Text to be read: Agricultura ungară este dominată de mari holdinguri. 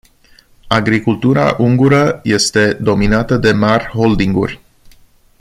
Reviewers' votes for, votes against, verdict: 0, 2, rejected